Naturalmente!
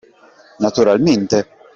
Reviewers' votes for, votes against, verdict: 2, 0, accepted